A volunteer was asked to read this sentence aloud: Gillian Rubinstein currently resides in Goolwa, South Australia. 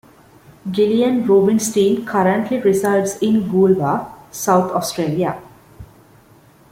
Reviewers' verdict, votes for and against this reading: accepted, 2, 0